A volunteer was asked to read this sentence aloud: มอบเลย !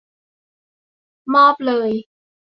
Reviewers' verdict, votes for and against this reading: accepted, 2, 0